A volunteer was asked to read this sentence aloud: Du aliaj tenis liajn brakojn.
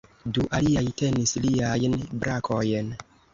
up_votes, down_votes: 1, 2